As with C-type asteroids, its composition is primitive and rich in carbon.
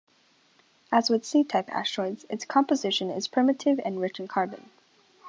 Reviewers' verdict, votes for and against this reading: accepted, 2, 0